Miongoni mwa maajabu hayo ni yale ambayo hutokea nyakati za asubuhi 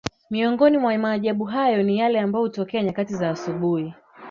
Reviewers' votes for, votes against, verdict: 7, 1, accepted